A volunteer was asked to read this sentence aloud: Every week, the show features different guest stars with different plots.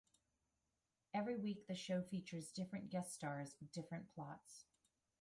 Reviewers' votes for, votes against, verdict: 1, 2, rejected